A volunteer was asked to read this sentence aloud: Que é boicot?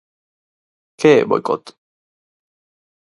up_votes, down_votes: 4, 0